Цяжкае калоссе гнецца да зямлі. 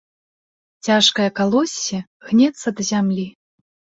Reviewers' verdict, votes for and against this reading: accepted, 2, 0